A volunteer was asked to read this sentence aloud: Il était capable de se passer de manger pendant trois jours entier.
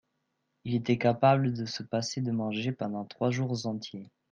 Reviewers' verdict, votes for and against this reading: accepted, 2, 0